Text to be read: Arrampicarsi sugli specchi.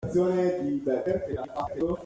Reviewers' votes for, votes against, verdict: 0, 2, rejected